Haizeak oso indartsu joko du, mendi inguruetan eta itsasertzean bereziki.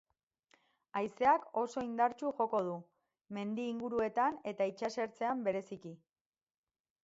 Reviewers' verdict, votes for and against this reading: accepted, 4, 0